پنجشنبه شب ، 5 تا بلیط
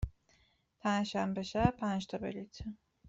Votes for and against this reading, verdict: 0, 2, rejected